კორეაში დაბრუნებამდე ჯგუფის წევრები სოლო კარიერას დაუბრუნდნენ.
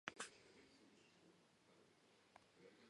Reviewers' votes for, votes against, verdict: 0, 2, rejected